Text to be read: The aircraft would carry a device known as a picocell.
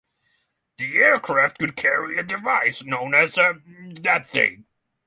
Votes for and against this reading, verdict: 0, 6, rejected